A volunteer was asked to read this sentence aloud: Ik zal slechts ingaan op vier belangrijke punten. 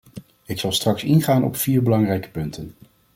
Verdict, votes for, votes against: rejected, 1, 2